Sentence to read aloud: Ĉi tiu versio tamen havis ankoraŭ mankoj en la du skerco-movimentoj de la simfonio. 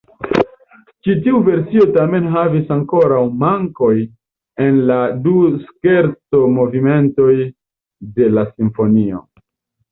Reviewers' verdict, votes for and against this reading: accepted, 2, 0